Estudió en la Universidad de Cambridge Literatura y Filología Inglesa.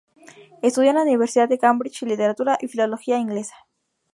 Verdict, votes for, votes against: rejected, 0, 2